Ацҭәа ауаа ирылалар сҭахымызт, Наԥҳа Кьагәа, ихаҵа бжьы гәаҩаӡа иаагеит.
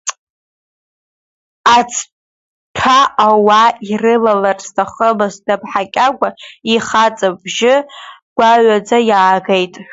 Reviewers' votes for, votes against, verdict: 1, 2, rejected